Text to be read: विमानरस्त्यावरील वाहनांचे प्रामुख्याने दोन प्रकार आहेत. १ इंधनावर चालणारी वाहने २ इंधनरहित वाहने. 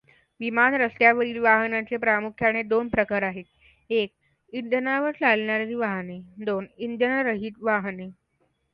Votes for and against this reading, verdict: 0, 2, rejected